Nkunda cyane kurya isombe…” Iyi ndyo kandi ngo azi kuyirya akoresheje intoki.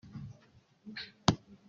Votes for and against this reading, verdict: 0, 3, rejected